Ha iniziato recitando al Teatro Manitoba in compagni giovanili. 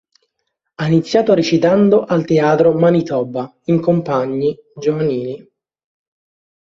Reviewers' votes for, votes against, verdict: 4, 0, accepted